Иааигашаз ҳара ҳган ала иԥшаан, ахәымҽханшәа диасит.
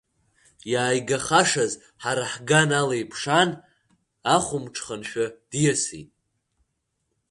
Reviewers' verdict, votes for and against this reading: rejected, 1, 2